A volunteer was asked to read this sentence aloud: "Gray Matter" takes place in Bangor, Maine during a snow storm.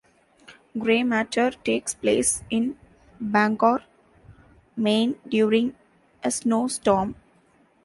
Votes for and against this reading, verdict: 2, 0, accepted